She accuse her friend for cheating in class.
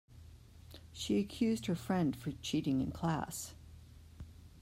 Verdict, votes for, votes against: rejected, 1, 2